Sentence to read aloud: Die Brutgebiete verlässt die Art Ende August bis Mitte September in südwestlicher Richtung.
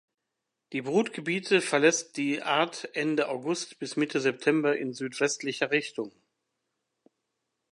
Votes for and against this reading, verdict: 2, 0, accepted